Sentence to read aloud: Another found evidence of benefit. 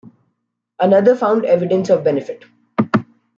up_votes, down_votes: 2, 0